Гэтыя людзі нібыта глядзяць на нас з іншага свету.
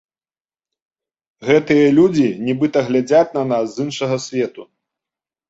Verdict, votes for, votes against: accepted, 3, 0